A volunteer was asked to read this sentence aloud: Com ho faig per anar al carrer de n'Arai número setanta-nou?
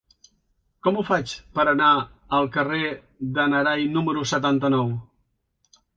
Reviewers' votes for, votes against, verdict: 2, 0, accepted